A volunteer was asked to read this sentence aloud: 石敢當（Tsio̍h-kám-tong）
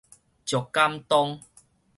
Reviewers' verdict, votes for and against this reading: rejected, 2, 4